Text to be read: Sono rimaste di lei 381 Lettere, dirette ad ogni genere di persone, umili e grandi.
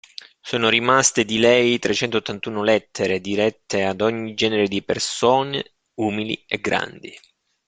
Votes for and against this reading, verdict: 0, 2, rejected